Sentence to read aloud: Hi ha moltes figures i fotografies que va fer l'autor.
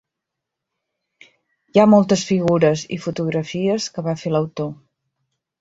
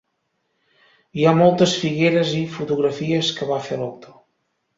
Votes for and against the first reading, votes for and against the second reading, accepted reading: 3, 0, 1, 2, first